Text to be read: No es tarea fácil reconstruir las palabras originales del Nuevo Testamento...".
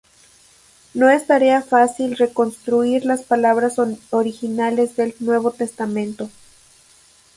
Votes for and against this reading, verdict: 0, 2, rejected